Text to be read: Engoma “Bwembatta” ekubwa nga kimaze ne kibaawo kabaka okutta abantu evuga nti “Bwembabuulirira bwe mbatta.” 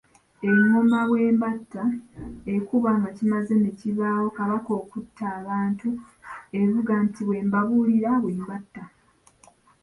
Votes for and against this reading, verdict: 1, 2, rejected